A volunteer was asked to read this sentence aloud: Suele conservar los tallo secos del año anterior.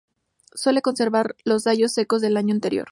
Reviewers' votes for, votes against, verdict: 0, 2, rejected